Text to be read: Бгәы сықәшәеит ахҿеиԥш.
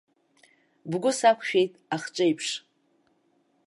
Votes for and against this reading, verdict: 0, 2, rejected